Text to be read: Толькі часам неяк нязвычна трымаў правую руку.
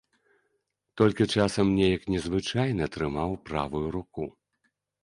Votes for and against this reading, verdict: 1, 2, rejected